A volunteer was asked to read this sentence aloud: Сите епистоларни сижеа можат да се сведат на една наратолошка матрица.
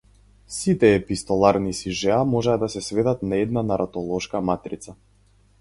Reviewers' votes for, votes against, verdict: 2, 2, rejected